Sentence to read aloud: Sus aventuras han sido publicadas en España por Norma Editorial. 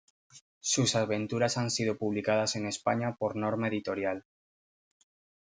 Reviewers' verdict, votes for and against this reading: accepted, 2, 0